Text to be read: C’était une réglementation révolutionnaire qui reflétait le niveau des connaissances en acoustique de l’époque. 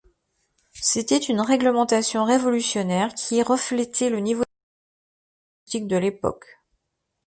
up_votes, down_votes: 1, 2